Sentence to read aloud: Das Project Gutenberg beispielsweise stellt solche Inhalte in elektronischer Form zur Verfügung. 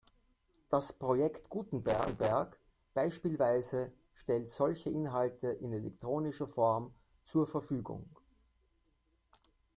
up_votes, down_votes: 0, 2